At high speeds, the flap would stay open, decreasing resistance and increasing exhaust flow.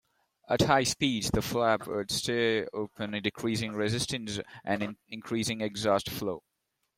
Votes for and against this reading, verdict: 2, 1, accepted